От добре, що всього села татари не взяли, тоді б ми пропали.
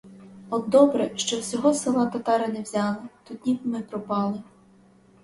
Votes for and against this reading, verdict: 4, 0, accepted